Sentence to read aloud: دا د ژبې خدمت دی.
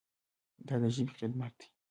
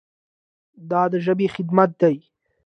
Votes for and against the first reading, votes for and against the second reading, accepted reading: 1, 2, 2, 0, second